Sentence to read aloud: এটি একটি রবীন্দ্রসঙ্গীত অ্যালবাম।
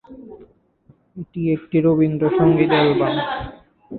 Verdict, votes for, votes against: rejected, 2, 2